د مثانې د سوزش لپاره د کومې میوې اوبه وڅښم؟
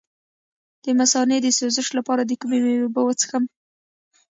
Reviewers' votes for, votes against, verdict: 1, 2, rejected